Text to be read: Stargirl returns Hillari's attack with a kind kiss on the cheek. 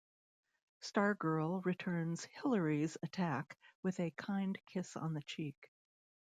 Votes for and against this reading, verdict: 2, 0, accepted